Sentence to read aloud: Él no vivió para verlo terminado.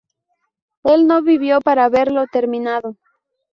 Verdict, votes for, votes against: accepted, 2, 0